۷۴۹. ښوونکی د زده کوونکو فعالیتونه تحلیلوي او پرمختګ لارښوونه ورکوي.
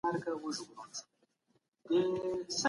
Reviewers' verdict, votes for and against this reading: rejected, 0, 2